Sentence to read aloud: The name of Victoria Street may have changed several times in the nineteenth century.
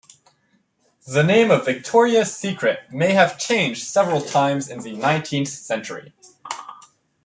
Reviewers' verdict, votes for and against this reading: rejected, 0, 2